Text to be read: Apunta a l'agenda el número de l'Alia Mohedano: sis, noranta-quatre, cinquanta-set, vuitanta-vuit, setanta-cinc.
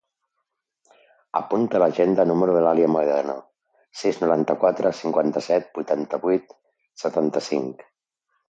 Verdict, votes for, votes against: accepted, 3, 2